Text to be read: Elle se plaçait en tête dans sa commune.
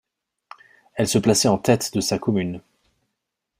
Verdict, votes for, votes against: rejected, 1, 2